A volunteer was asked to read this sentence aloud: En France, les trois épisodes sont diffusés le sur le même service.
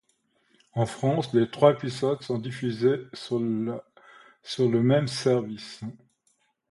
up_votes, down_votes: 0, 2